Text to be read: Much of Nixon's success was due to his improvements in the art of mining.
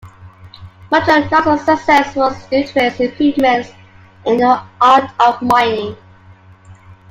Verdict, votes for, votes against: accepted, 2, 1